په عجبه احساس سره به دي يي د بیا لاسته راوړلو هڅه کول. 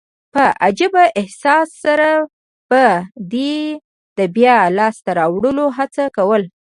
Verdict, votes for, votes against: accepted, 2, 0